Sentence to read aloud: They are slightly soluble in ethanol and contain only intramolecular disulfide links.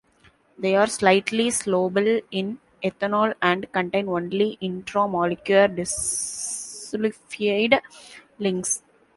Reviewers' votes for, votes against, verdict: 1, 2, rejected